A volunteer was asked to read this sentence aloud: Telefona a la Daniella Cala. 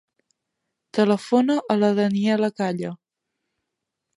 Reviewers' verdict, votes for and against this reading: accepted, 2, 1